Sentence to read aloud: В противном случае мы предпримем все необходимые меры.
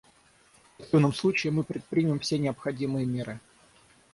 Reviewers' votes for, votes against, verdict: 3, 3, rejected